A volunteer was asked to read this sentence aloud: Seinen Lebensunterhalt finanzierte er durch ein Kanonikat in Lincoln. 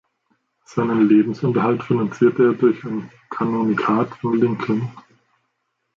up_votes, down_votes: 0, 2